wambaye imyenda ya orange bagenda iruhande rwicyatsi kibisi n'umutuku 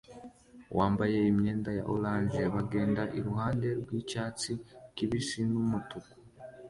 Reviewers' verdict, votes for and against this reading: accepted, 2, 1